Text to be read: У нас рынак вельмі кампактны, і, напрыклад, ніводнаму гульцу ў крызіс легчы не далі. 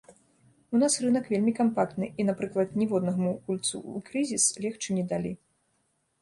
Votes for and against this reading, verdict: 1, 2, rejected